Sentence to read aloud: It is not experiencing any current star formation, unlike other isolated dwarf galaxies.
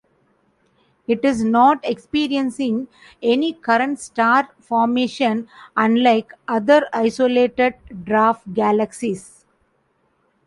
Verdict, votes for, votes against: accepted, 2, 0